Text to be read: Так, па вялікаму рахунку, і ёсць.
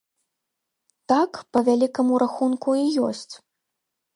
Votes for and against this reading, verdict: 2, 0, accepted